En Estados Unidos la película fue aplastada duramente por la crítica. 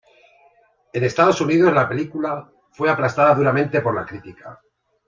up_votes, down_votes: 2, 0